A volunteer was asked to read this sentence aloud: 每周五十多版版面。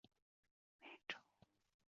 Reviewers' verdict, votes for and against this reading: accepted, 2, 1